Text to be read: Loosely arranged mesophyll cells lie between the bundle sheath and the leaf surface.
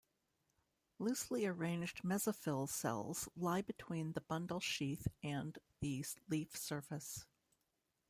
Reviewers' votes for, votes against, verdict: 1, 2, rejected